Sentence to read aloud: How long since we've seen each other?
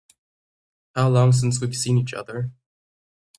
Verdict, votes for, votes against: accepted, 3, 0